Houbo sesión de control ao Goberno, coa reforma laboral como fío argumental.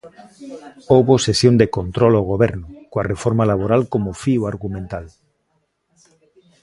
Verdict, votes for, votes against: rejected, 1, 2